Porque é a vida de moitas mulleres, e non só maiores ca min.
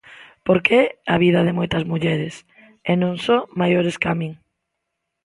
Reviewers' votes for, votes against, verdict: 2, 0, accepted